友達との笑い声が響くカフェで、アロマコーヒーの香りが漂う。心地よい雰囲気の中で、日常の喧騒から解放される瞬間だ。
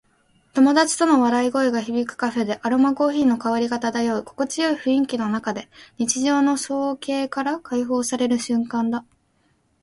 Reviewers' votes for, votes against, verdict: 0, 2, rejected